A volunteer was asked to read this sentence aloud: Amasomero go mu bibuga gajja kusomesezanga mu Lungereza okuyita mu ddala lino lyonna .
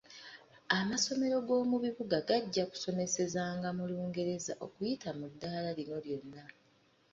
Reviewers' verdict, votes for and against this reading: accepted, 2, 1